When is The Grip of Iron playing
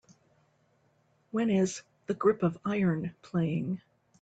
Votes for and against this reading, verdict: 2, 0, accepted